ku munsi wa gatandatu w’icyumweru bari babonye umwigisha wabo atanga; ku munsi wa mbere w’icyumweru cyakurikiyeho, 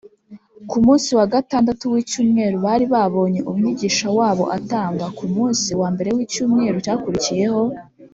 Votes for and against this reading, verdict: 2, 0, accepted